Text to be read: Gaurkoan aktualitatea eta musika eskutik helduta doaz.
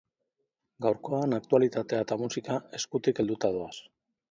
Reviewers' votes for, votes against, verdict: 3, 0, accepted